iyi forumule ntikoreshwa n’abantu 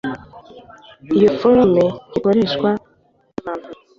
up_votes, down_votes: 1, 2